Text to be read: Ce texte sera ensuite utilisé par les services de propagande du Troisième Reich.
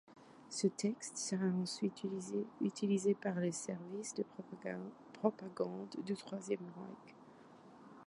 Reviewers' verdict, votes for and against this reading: rejected, 0, 2